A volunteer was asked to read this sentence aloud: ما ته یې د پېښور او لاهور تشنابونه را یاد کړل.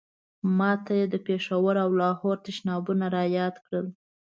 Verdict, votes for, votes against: accepted, 2, 0